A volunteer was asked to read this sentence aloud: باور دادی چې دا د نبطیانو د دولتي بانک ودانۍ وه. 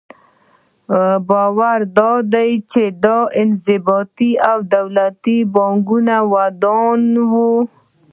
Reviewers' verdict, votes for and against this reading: rejected, 1, 2